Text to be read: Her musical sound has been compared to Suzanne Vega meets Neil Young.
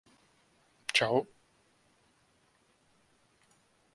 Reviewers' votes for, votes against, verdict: 0, 2, rejected